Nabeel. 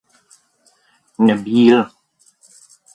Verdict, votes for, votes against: accepted, 2, 0